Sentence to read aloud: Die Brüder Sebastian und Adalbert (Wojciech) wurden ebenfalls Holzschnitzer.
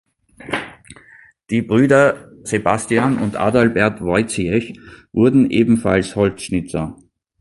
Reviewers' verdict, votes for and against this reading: rejected, 0, 2